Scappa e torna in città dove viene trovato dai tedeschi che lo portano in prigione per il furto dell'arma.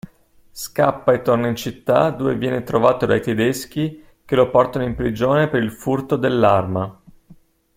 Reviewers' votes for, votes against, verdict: 2, 0, accepted